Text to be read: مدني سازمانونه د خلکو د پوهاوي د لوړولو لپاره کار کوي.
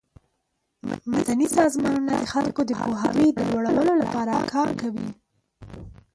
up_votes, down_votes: 3, 4